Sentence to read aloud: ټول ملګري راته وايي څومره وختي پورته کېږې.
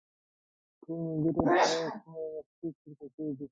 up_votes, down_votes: 0, 2